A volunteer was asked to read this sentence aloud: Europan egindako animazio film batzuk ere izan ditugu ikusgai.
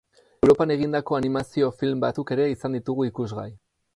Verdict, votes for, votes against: rejected, 2, 2